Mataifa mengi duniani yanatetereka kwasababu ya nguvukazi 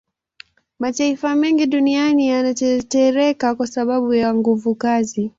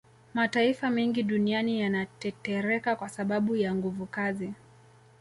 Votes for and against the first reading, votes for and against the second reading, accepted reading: 2, 3, 2, 0, second